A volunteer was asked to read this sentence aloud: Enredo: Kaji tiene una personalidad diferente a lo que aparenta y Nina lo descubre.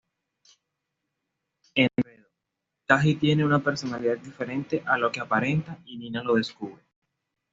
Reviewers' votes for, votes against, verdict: 1, 2, rejected